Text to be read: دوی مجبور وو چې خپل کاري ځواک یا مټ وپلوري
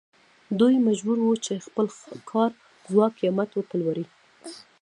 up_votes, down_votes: 1, 2